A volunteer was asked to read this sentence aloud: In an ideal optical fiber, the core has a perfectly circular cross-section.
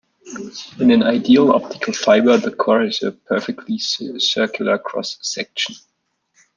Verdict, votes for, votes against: rejected, 1, 2